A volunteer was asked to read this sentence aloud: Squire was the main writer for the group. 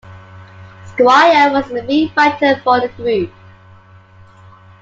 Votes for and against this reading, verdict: 0, 2, rejected